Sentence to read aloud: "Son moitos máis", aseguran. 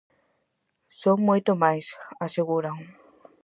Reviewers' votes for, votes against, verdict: 0, 4, rejected